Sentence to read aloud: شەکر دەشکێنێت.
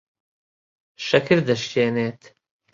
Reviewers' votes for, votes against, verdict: 2, 0, accepted